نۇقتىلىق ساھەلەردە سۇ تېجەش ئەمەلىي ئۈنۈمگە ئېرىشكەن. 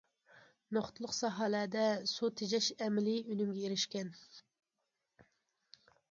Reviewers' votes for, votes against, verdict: 2, 0, accepted